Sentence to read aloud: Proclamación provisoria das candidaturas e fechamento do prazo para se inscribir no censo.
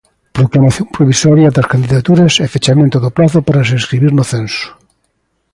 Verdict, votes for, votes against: accepted, 2, 0